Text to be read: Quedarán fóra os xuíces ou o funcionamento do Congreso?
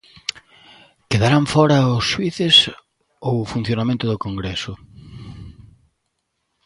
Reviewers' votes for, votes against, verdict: 2, 0, accepted